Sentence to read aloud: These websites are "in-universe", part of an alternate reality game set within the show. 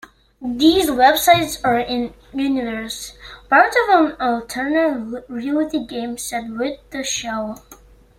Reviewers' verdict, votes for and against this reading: rejected, 1, 2